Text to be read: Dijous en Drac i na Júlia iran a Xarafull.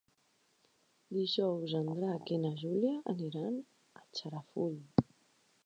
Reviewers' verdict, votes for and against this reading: rejected, 0, 2